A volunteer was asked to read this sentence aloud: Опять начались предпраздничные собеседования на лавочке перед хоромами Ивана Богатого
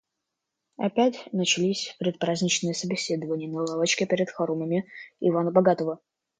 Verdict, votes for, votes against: accepted, 2, 0